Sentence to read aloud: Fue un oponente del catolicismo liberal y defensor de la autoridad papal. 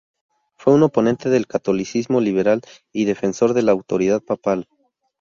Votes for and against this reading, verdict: 4, 0, accepted